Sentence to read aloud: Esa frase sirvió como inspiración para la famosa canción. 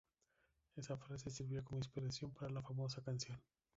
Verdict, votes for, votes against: rejected, 0, 2